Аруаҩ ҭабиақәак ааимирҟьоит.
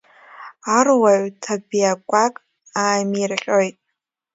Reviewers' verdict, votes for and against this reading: accepted, 3, 1